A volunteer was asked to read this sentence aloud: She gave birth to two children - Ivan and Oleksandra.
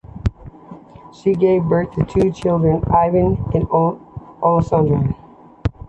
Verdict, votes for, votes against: accepted, 2, 1